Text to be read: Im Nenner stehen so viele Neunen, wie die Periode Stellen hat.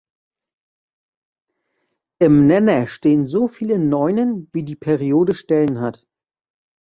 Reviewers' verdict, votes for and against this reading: accepted, 2, 0